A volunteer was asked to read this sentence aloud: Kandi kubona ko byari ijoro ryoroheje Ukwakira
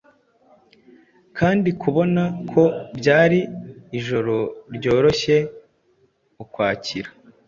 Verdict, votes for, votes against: rejected, 0, 2